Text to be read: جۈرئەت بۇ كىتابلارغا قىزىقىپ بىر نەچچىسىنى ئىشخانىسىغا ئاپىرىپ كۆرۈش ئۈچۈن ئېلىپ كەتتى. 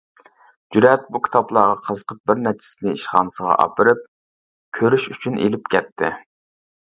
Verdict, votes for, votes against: rejected, 0, 2